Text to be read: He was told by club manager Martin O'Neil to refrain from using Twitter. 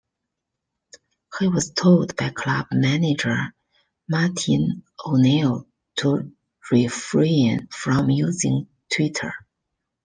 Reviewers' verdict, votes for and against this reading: rejected, 0, 2